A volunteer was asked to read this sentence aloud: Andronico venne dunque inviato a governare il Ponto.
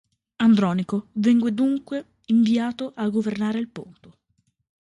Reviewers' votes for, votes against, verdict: 1, 2, rejected